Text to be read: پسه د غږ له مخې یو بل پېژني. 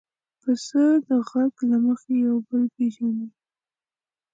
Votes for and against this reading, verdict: 2, 0, accepted